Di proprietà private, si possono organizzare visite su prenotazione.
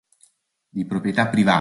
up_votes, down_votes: 1, 3